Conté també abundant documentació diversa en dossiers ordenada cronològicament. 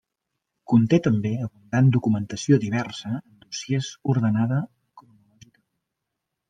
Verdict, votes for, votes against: rejected, 0, 2